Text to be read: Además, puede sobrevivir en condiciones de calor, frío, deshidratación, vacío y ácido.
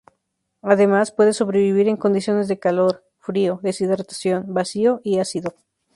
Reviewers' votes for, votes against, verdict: 0, 2, rejected